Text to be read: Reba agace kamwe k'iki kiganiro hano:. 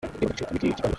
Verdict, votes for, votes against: rejected, 0, 2